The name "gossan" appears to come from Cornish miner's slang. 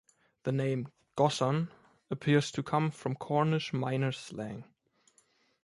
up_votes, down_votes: 2, 0